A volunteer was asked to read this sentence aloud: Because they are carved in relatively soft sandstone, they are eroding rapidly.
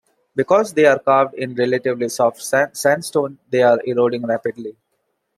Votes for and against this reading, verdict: 0, 2, rejected